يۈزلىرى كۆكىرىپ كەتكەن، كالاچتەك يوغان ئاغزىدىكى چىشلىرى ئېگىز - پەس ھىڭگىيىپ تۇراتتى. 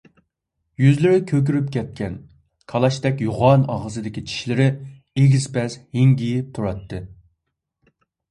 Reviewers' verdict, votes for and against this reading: accepted, 3, 0